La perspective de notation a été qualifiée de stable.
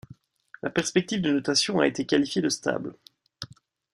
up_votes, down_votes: 2, 0